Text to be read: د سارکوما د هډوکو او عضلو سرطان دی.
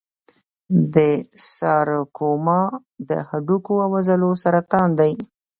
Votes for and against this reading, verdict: 3, 1, accepted